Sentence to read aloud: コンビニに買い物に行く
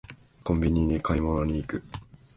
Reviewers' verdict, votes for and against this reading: accepted, 2, 0